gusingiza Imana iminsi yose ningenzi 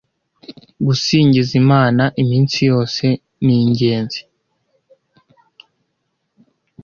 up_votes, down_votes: 2, 1